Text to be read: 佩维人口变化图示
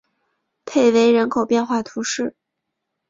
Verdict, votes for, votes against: accepted, 2, 0